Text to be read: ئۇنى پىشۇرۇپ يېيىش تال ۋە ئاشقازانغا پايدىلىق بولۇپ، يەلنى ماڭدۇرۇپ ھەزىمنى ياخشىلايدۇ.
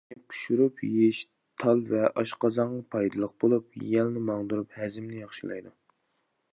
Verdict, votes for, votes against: rejected, 1, 2